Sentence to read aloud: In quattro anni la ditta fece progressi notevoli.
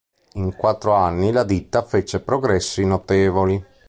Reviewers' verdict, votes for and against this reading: accepted, 2, 1